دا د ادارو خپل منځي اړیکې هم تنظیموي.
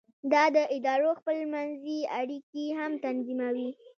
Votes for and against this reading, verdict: 2, 0, accepted